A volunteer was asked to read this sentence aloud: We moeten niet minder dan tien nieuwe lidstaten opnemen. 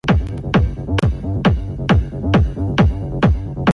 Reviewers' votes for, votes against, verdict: 0, 2, rejected